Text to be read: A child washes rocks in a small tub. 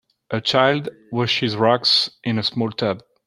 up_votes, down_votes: 2, 0